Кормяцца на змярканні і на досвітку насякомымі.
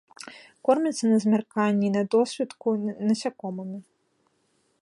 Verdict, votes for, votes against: rejected, 1, 2